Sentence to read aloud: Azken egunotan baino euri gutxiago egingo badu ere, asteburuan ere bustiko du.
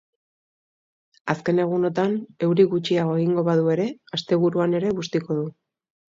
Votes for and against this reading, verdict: 0, 2, rejected